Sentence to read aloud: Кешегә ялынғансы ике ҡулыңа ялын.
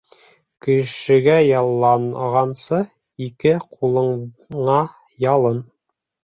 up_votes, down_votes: 1, 2